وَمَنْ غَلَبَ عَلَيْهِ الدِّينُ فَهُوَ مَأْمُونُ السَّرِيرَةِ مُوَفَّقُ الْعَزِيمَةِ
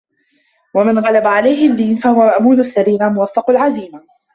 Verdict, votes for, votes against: rejected, 1, 2